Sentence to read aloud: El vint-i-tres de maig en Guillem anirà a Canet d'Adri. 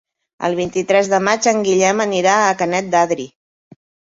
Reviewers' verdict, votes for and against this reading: accepted, 2, 0